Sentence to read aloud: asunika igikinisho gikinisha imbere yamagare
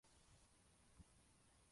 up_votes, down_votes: 0, 2